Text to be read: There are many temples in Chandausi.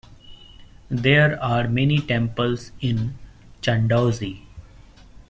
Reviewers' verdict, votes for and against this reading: accepted, 2, 0